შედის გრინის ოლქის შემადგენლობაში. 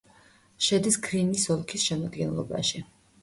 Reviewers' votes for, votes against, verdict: 1, 2, rejected